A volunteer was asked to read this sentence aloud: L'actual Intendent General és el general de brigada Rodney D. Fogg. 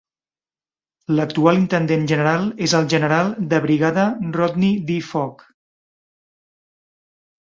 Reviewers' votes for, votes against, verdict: 3, 0, accepted